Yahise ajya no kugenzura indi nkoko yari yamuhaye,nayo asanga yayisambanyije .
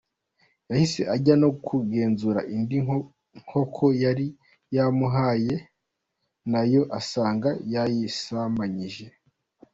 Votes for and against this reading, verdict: 2, 1, accepted